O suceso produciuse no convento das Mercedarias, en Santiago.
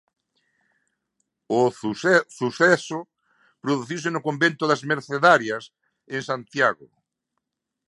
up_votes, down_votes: 1, 2